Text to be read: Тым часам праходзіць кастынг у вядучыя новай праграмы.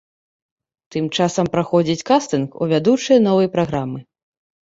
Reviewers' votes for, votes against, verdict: 2, 0, accepted